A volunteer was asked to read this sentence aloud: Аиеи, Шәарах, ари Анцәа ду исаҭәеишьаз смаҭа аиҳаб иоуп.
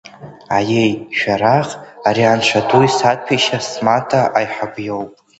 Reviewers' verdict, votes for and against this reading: accepted, 2, 0